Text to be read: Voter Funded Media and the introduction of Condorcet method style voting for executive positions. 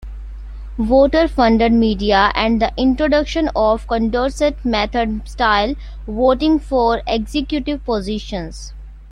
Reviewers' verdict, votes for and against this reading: accepted, 2, 1